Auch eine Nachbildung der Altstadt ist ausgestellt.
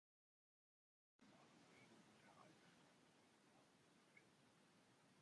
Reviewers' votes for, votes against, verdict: 0, 2, rejected